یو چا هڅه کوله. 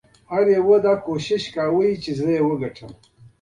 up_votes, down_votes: 2, 0